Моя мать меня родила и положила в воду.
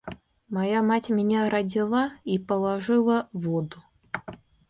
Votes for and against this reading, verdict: 1, 2, rejected